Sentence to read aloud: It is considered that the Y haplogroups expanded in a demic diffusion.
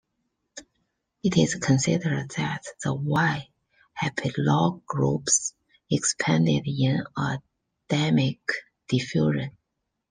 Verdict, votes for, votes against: accepted, 2, 1